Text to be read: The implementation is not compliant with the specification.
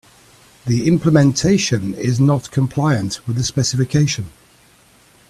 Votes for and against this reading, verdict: 2, 0, accepted